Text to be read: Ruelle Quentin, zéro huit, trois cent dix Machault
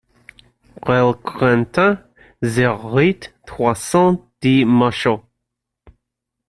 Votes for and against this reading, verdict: 0, 2, rejected